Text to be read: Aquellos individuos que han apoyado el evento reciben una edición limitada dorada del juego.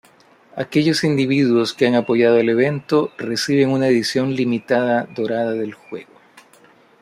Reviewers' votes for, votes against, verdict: 2, 0, accepted